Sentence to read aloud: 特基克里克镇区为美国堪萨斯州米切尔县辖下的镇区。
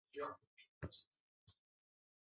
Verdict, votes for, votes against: rejected, 0, 2